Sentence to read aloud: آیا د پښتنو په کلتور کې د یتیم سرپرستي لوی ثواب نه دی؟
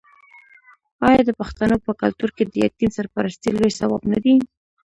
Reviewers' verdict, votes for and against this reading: rejected, 1, 2